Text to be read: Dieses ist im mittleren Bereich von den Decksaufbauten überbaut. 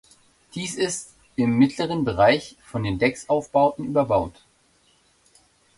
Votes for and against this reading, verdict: 1, 2, rejected